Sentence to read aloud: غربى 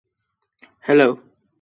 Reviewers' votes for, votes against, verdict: 0, 2, rejected